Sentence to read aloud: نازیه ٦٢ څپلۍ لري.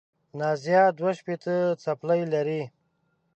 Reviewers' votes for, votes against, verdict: 0, 2, rejected